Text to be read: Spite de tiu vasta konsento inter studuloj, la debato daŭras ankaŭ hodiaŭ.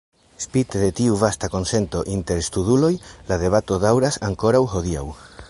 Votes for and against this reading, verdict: 1, 2, rejected